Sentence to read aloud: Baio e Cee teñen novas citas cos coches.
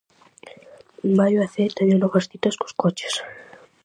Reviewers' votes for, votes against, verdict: 4, 0, accepted